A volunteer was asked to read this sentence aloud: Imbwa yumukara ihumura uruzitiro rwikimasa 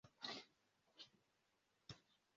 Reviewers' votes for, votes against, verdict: 0, 2, rejected